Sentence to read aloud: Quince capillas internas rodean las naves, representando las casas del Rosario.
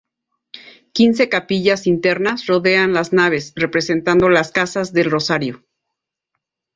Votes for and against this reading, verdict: 2, 0, accepted